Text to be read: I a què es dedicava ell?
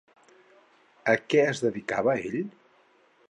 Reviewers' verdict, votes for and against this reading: rejected, 2, 4